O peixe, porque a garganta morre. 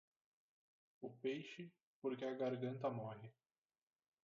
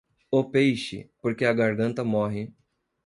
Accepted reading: second